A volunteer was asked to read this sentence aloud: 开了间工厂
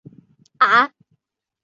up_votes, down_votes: 1, 8